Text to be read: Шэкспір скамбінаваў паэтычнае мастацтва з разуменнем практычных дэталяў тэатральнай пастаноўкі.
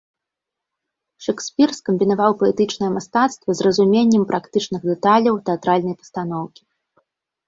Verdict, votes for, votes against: accepted, 2, 0